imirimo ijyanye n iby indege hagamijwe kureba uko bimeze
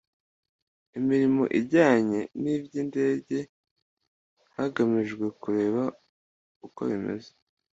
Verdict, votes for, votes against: accepted, 2, 0